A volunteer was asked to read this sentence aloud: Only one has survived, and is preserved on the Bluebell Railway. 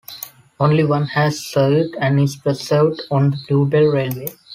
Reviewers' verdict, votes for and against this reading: accepted, 2, 1